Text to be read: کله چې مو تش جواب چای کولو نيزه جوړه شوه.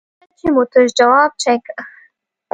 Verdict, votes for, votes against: rejected, 1, 2